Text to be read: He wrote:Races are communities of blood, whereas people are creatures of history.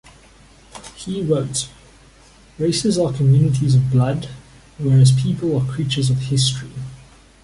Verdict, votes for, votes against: accepted, 2, 0